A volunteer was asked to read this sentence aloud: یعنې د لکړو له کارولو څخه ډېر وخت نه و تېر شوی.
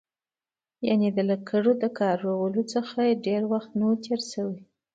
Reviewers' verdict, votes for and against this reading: accepted, 2, 0